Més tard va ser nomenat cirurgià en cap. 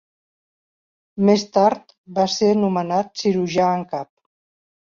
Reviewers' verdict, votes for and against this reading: accepted, 2, 0